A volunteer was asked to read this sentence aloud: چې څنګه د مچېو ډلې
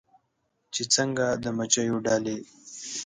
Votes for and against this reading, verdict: 2, 0, accepted